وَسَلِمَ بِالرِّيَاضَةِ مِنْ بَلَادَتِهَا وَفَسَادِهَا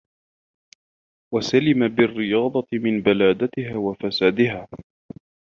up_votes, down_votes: 0, 2